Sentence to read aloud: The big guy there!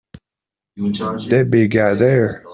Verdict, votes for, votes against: rejected, 1, 2